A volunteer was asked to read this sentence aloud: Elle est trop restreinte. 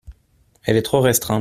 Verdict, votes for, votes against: rejected, 1, 2